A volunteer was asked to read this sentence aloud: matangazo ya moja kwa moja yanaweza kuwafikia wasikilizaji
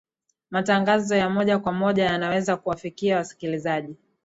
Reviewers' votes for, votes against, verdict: 4, 0, accepted